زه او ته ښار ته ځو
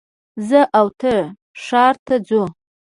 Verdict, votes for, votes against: rejected, 1, 2